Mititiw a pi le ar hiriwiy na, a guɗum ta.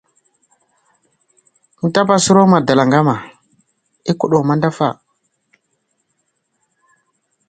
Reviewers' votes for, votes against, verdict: 0, 2, rejected